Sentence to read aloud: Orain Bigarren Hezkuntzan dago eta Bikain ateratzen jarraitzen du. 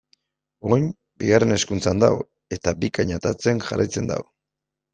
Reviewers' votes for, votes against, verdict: 0, 2, rejected